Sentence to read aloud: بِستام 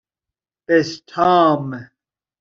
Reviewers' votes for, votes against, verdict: 2, 0, accepted